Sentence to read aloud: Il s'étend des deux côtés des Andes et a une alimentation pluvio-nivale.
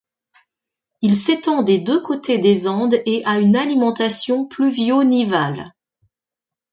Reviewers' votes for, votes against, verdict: 2, 0, accepted